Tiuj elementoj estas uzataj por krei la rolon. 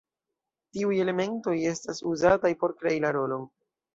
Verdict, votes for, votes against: accepted, 2, 0